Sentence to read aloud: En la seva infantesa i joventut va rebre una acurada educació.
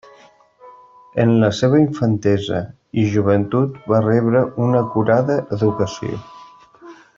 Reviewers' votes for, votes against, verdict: 2, 1, accepted